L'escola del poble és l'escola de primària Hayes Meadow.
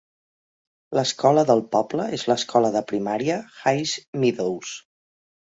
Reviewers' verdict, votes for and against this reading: rejected, 0, 3